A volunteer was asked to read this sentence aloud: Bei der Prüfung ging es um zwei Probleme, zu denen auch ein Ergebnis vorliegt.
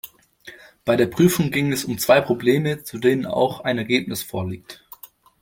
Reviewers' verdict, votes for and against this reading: accepted, 2, 0